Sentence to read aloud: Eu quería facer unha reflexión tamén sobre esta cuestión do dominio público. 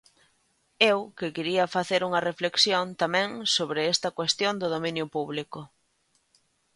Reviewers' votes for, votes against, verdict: 0, 2, rejected